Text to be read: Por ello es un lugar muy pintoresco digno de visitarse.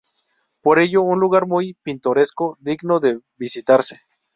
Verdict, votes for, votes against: rejected, 2, 2